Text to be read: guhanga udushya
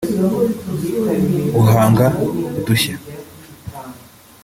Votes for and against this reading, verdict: 3, 4, rejected